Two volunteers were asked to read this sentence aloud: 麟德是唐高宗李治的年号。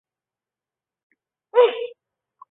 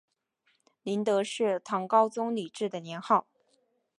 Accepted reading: second